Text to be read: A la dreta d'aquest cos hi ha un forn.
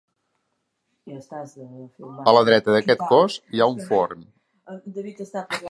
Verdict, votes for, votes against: rejected, 0, 2